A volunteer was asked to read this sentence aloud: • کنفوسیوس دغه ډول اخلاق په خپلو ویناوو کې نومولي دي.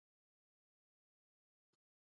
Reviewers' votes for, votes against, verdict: 1, 2, rejected